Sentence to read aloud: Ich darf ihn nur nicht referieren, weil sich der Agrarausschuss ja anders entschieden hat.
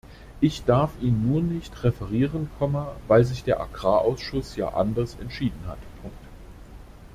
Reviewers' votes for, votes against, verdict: 0, 2, rejected